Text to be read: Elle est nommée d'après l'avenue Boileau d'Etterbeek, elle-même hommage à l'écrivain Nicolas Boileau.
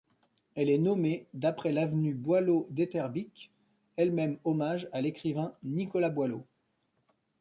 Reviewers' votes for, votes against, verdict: 1, 2, rejected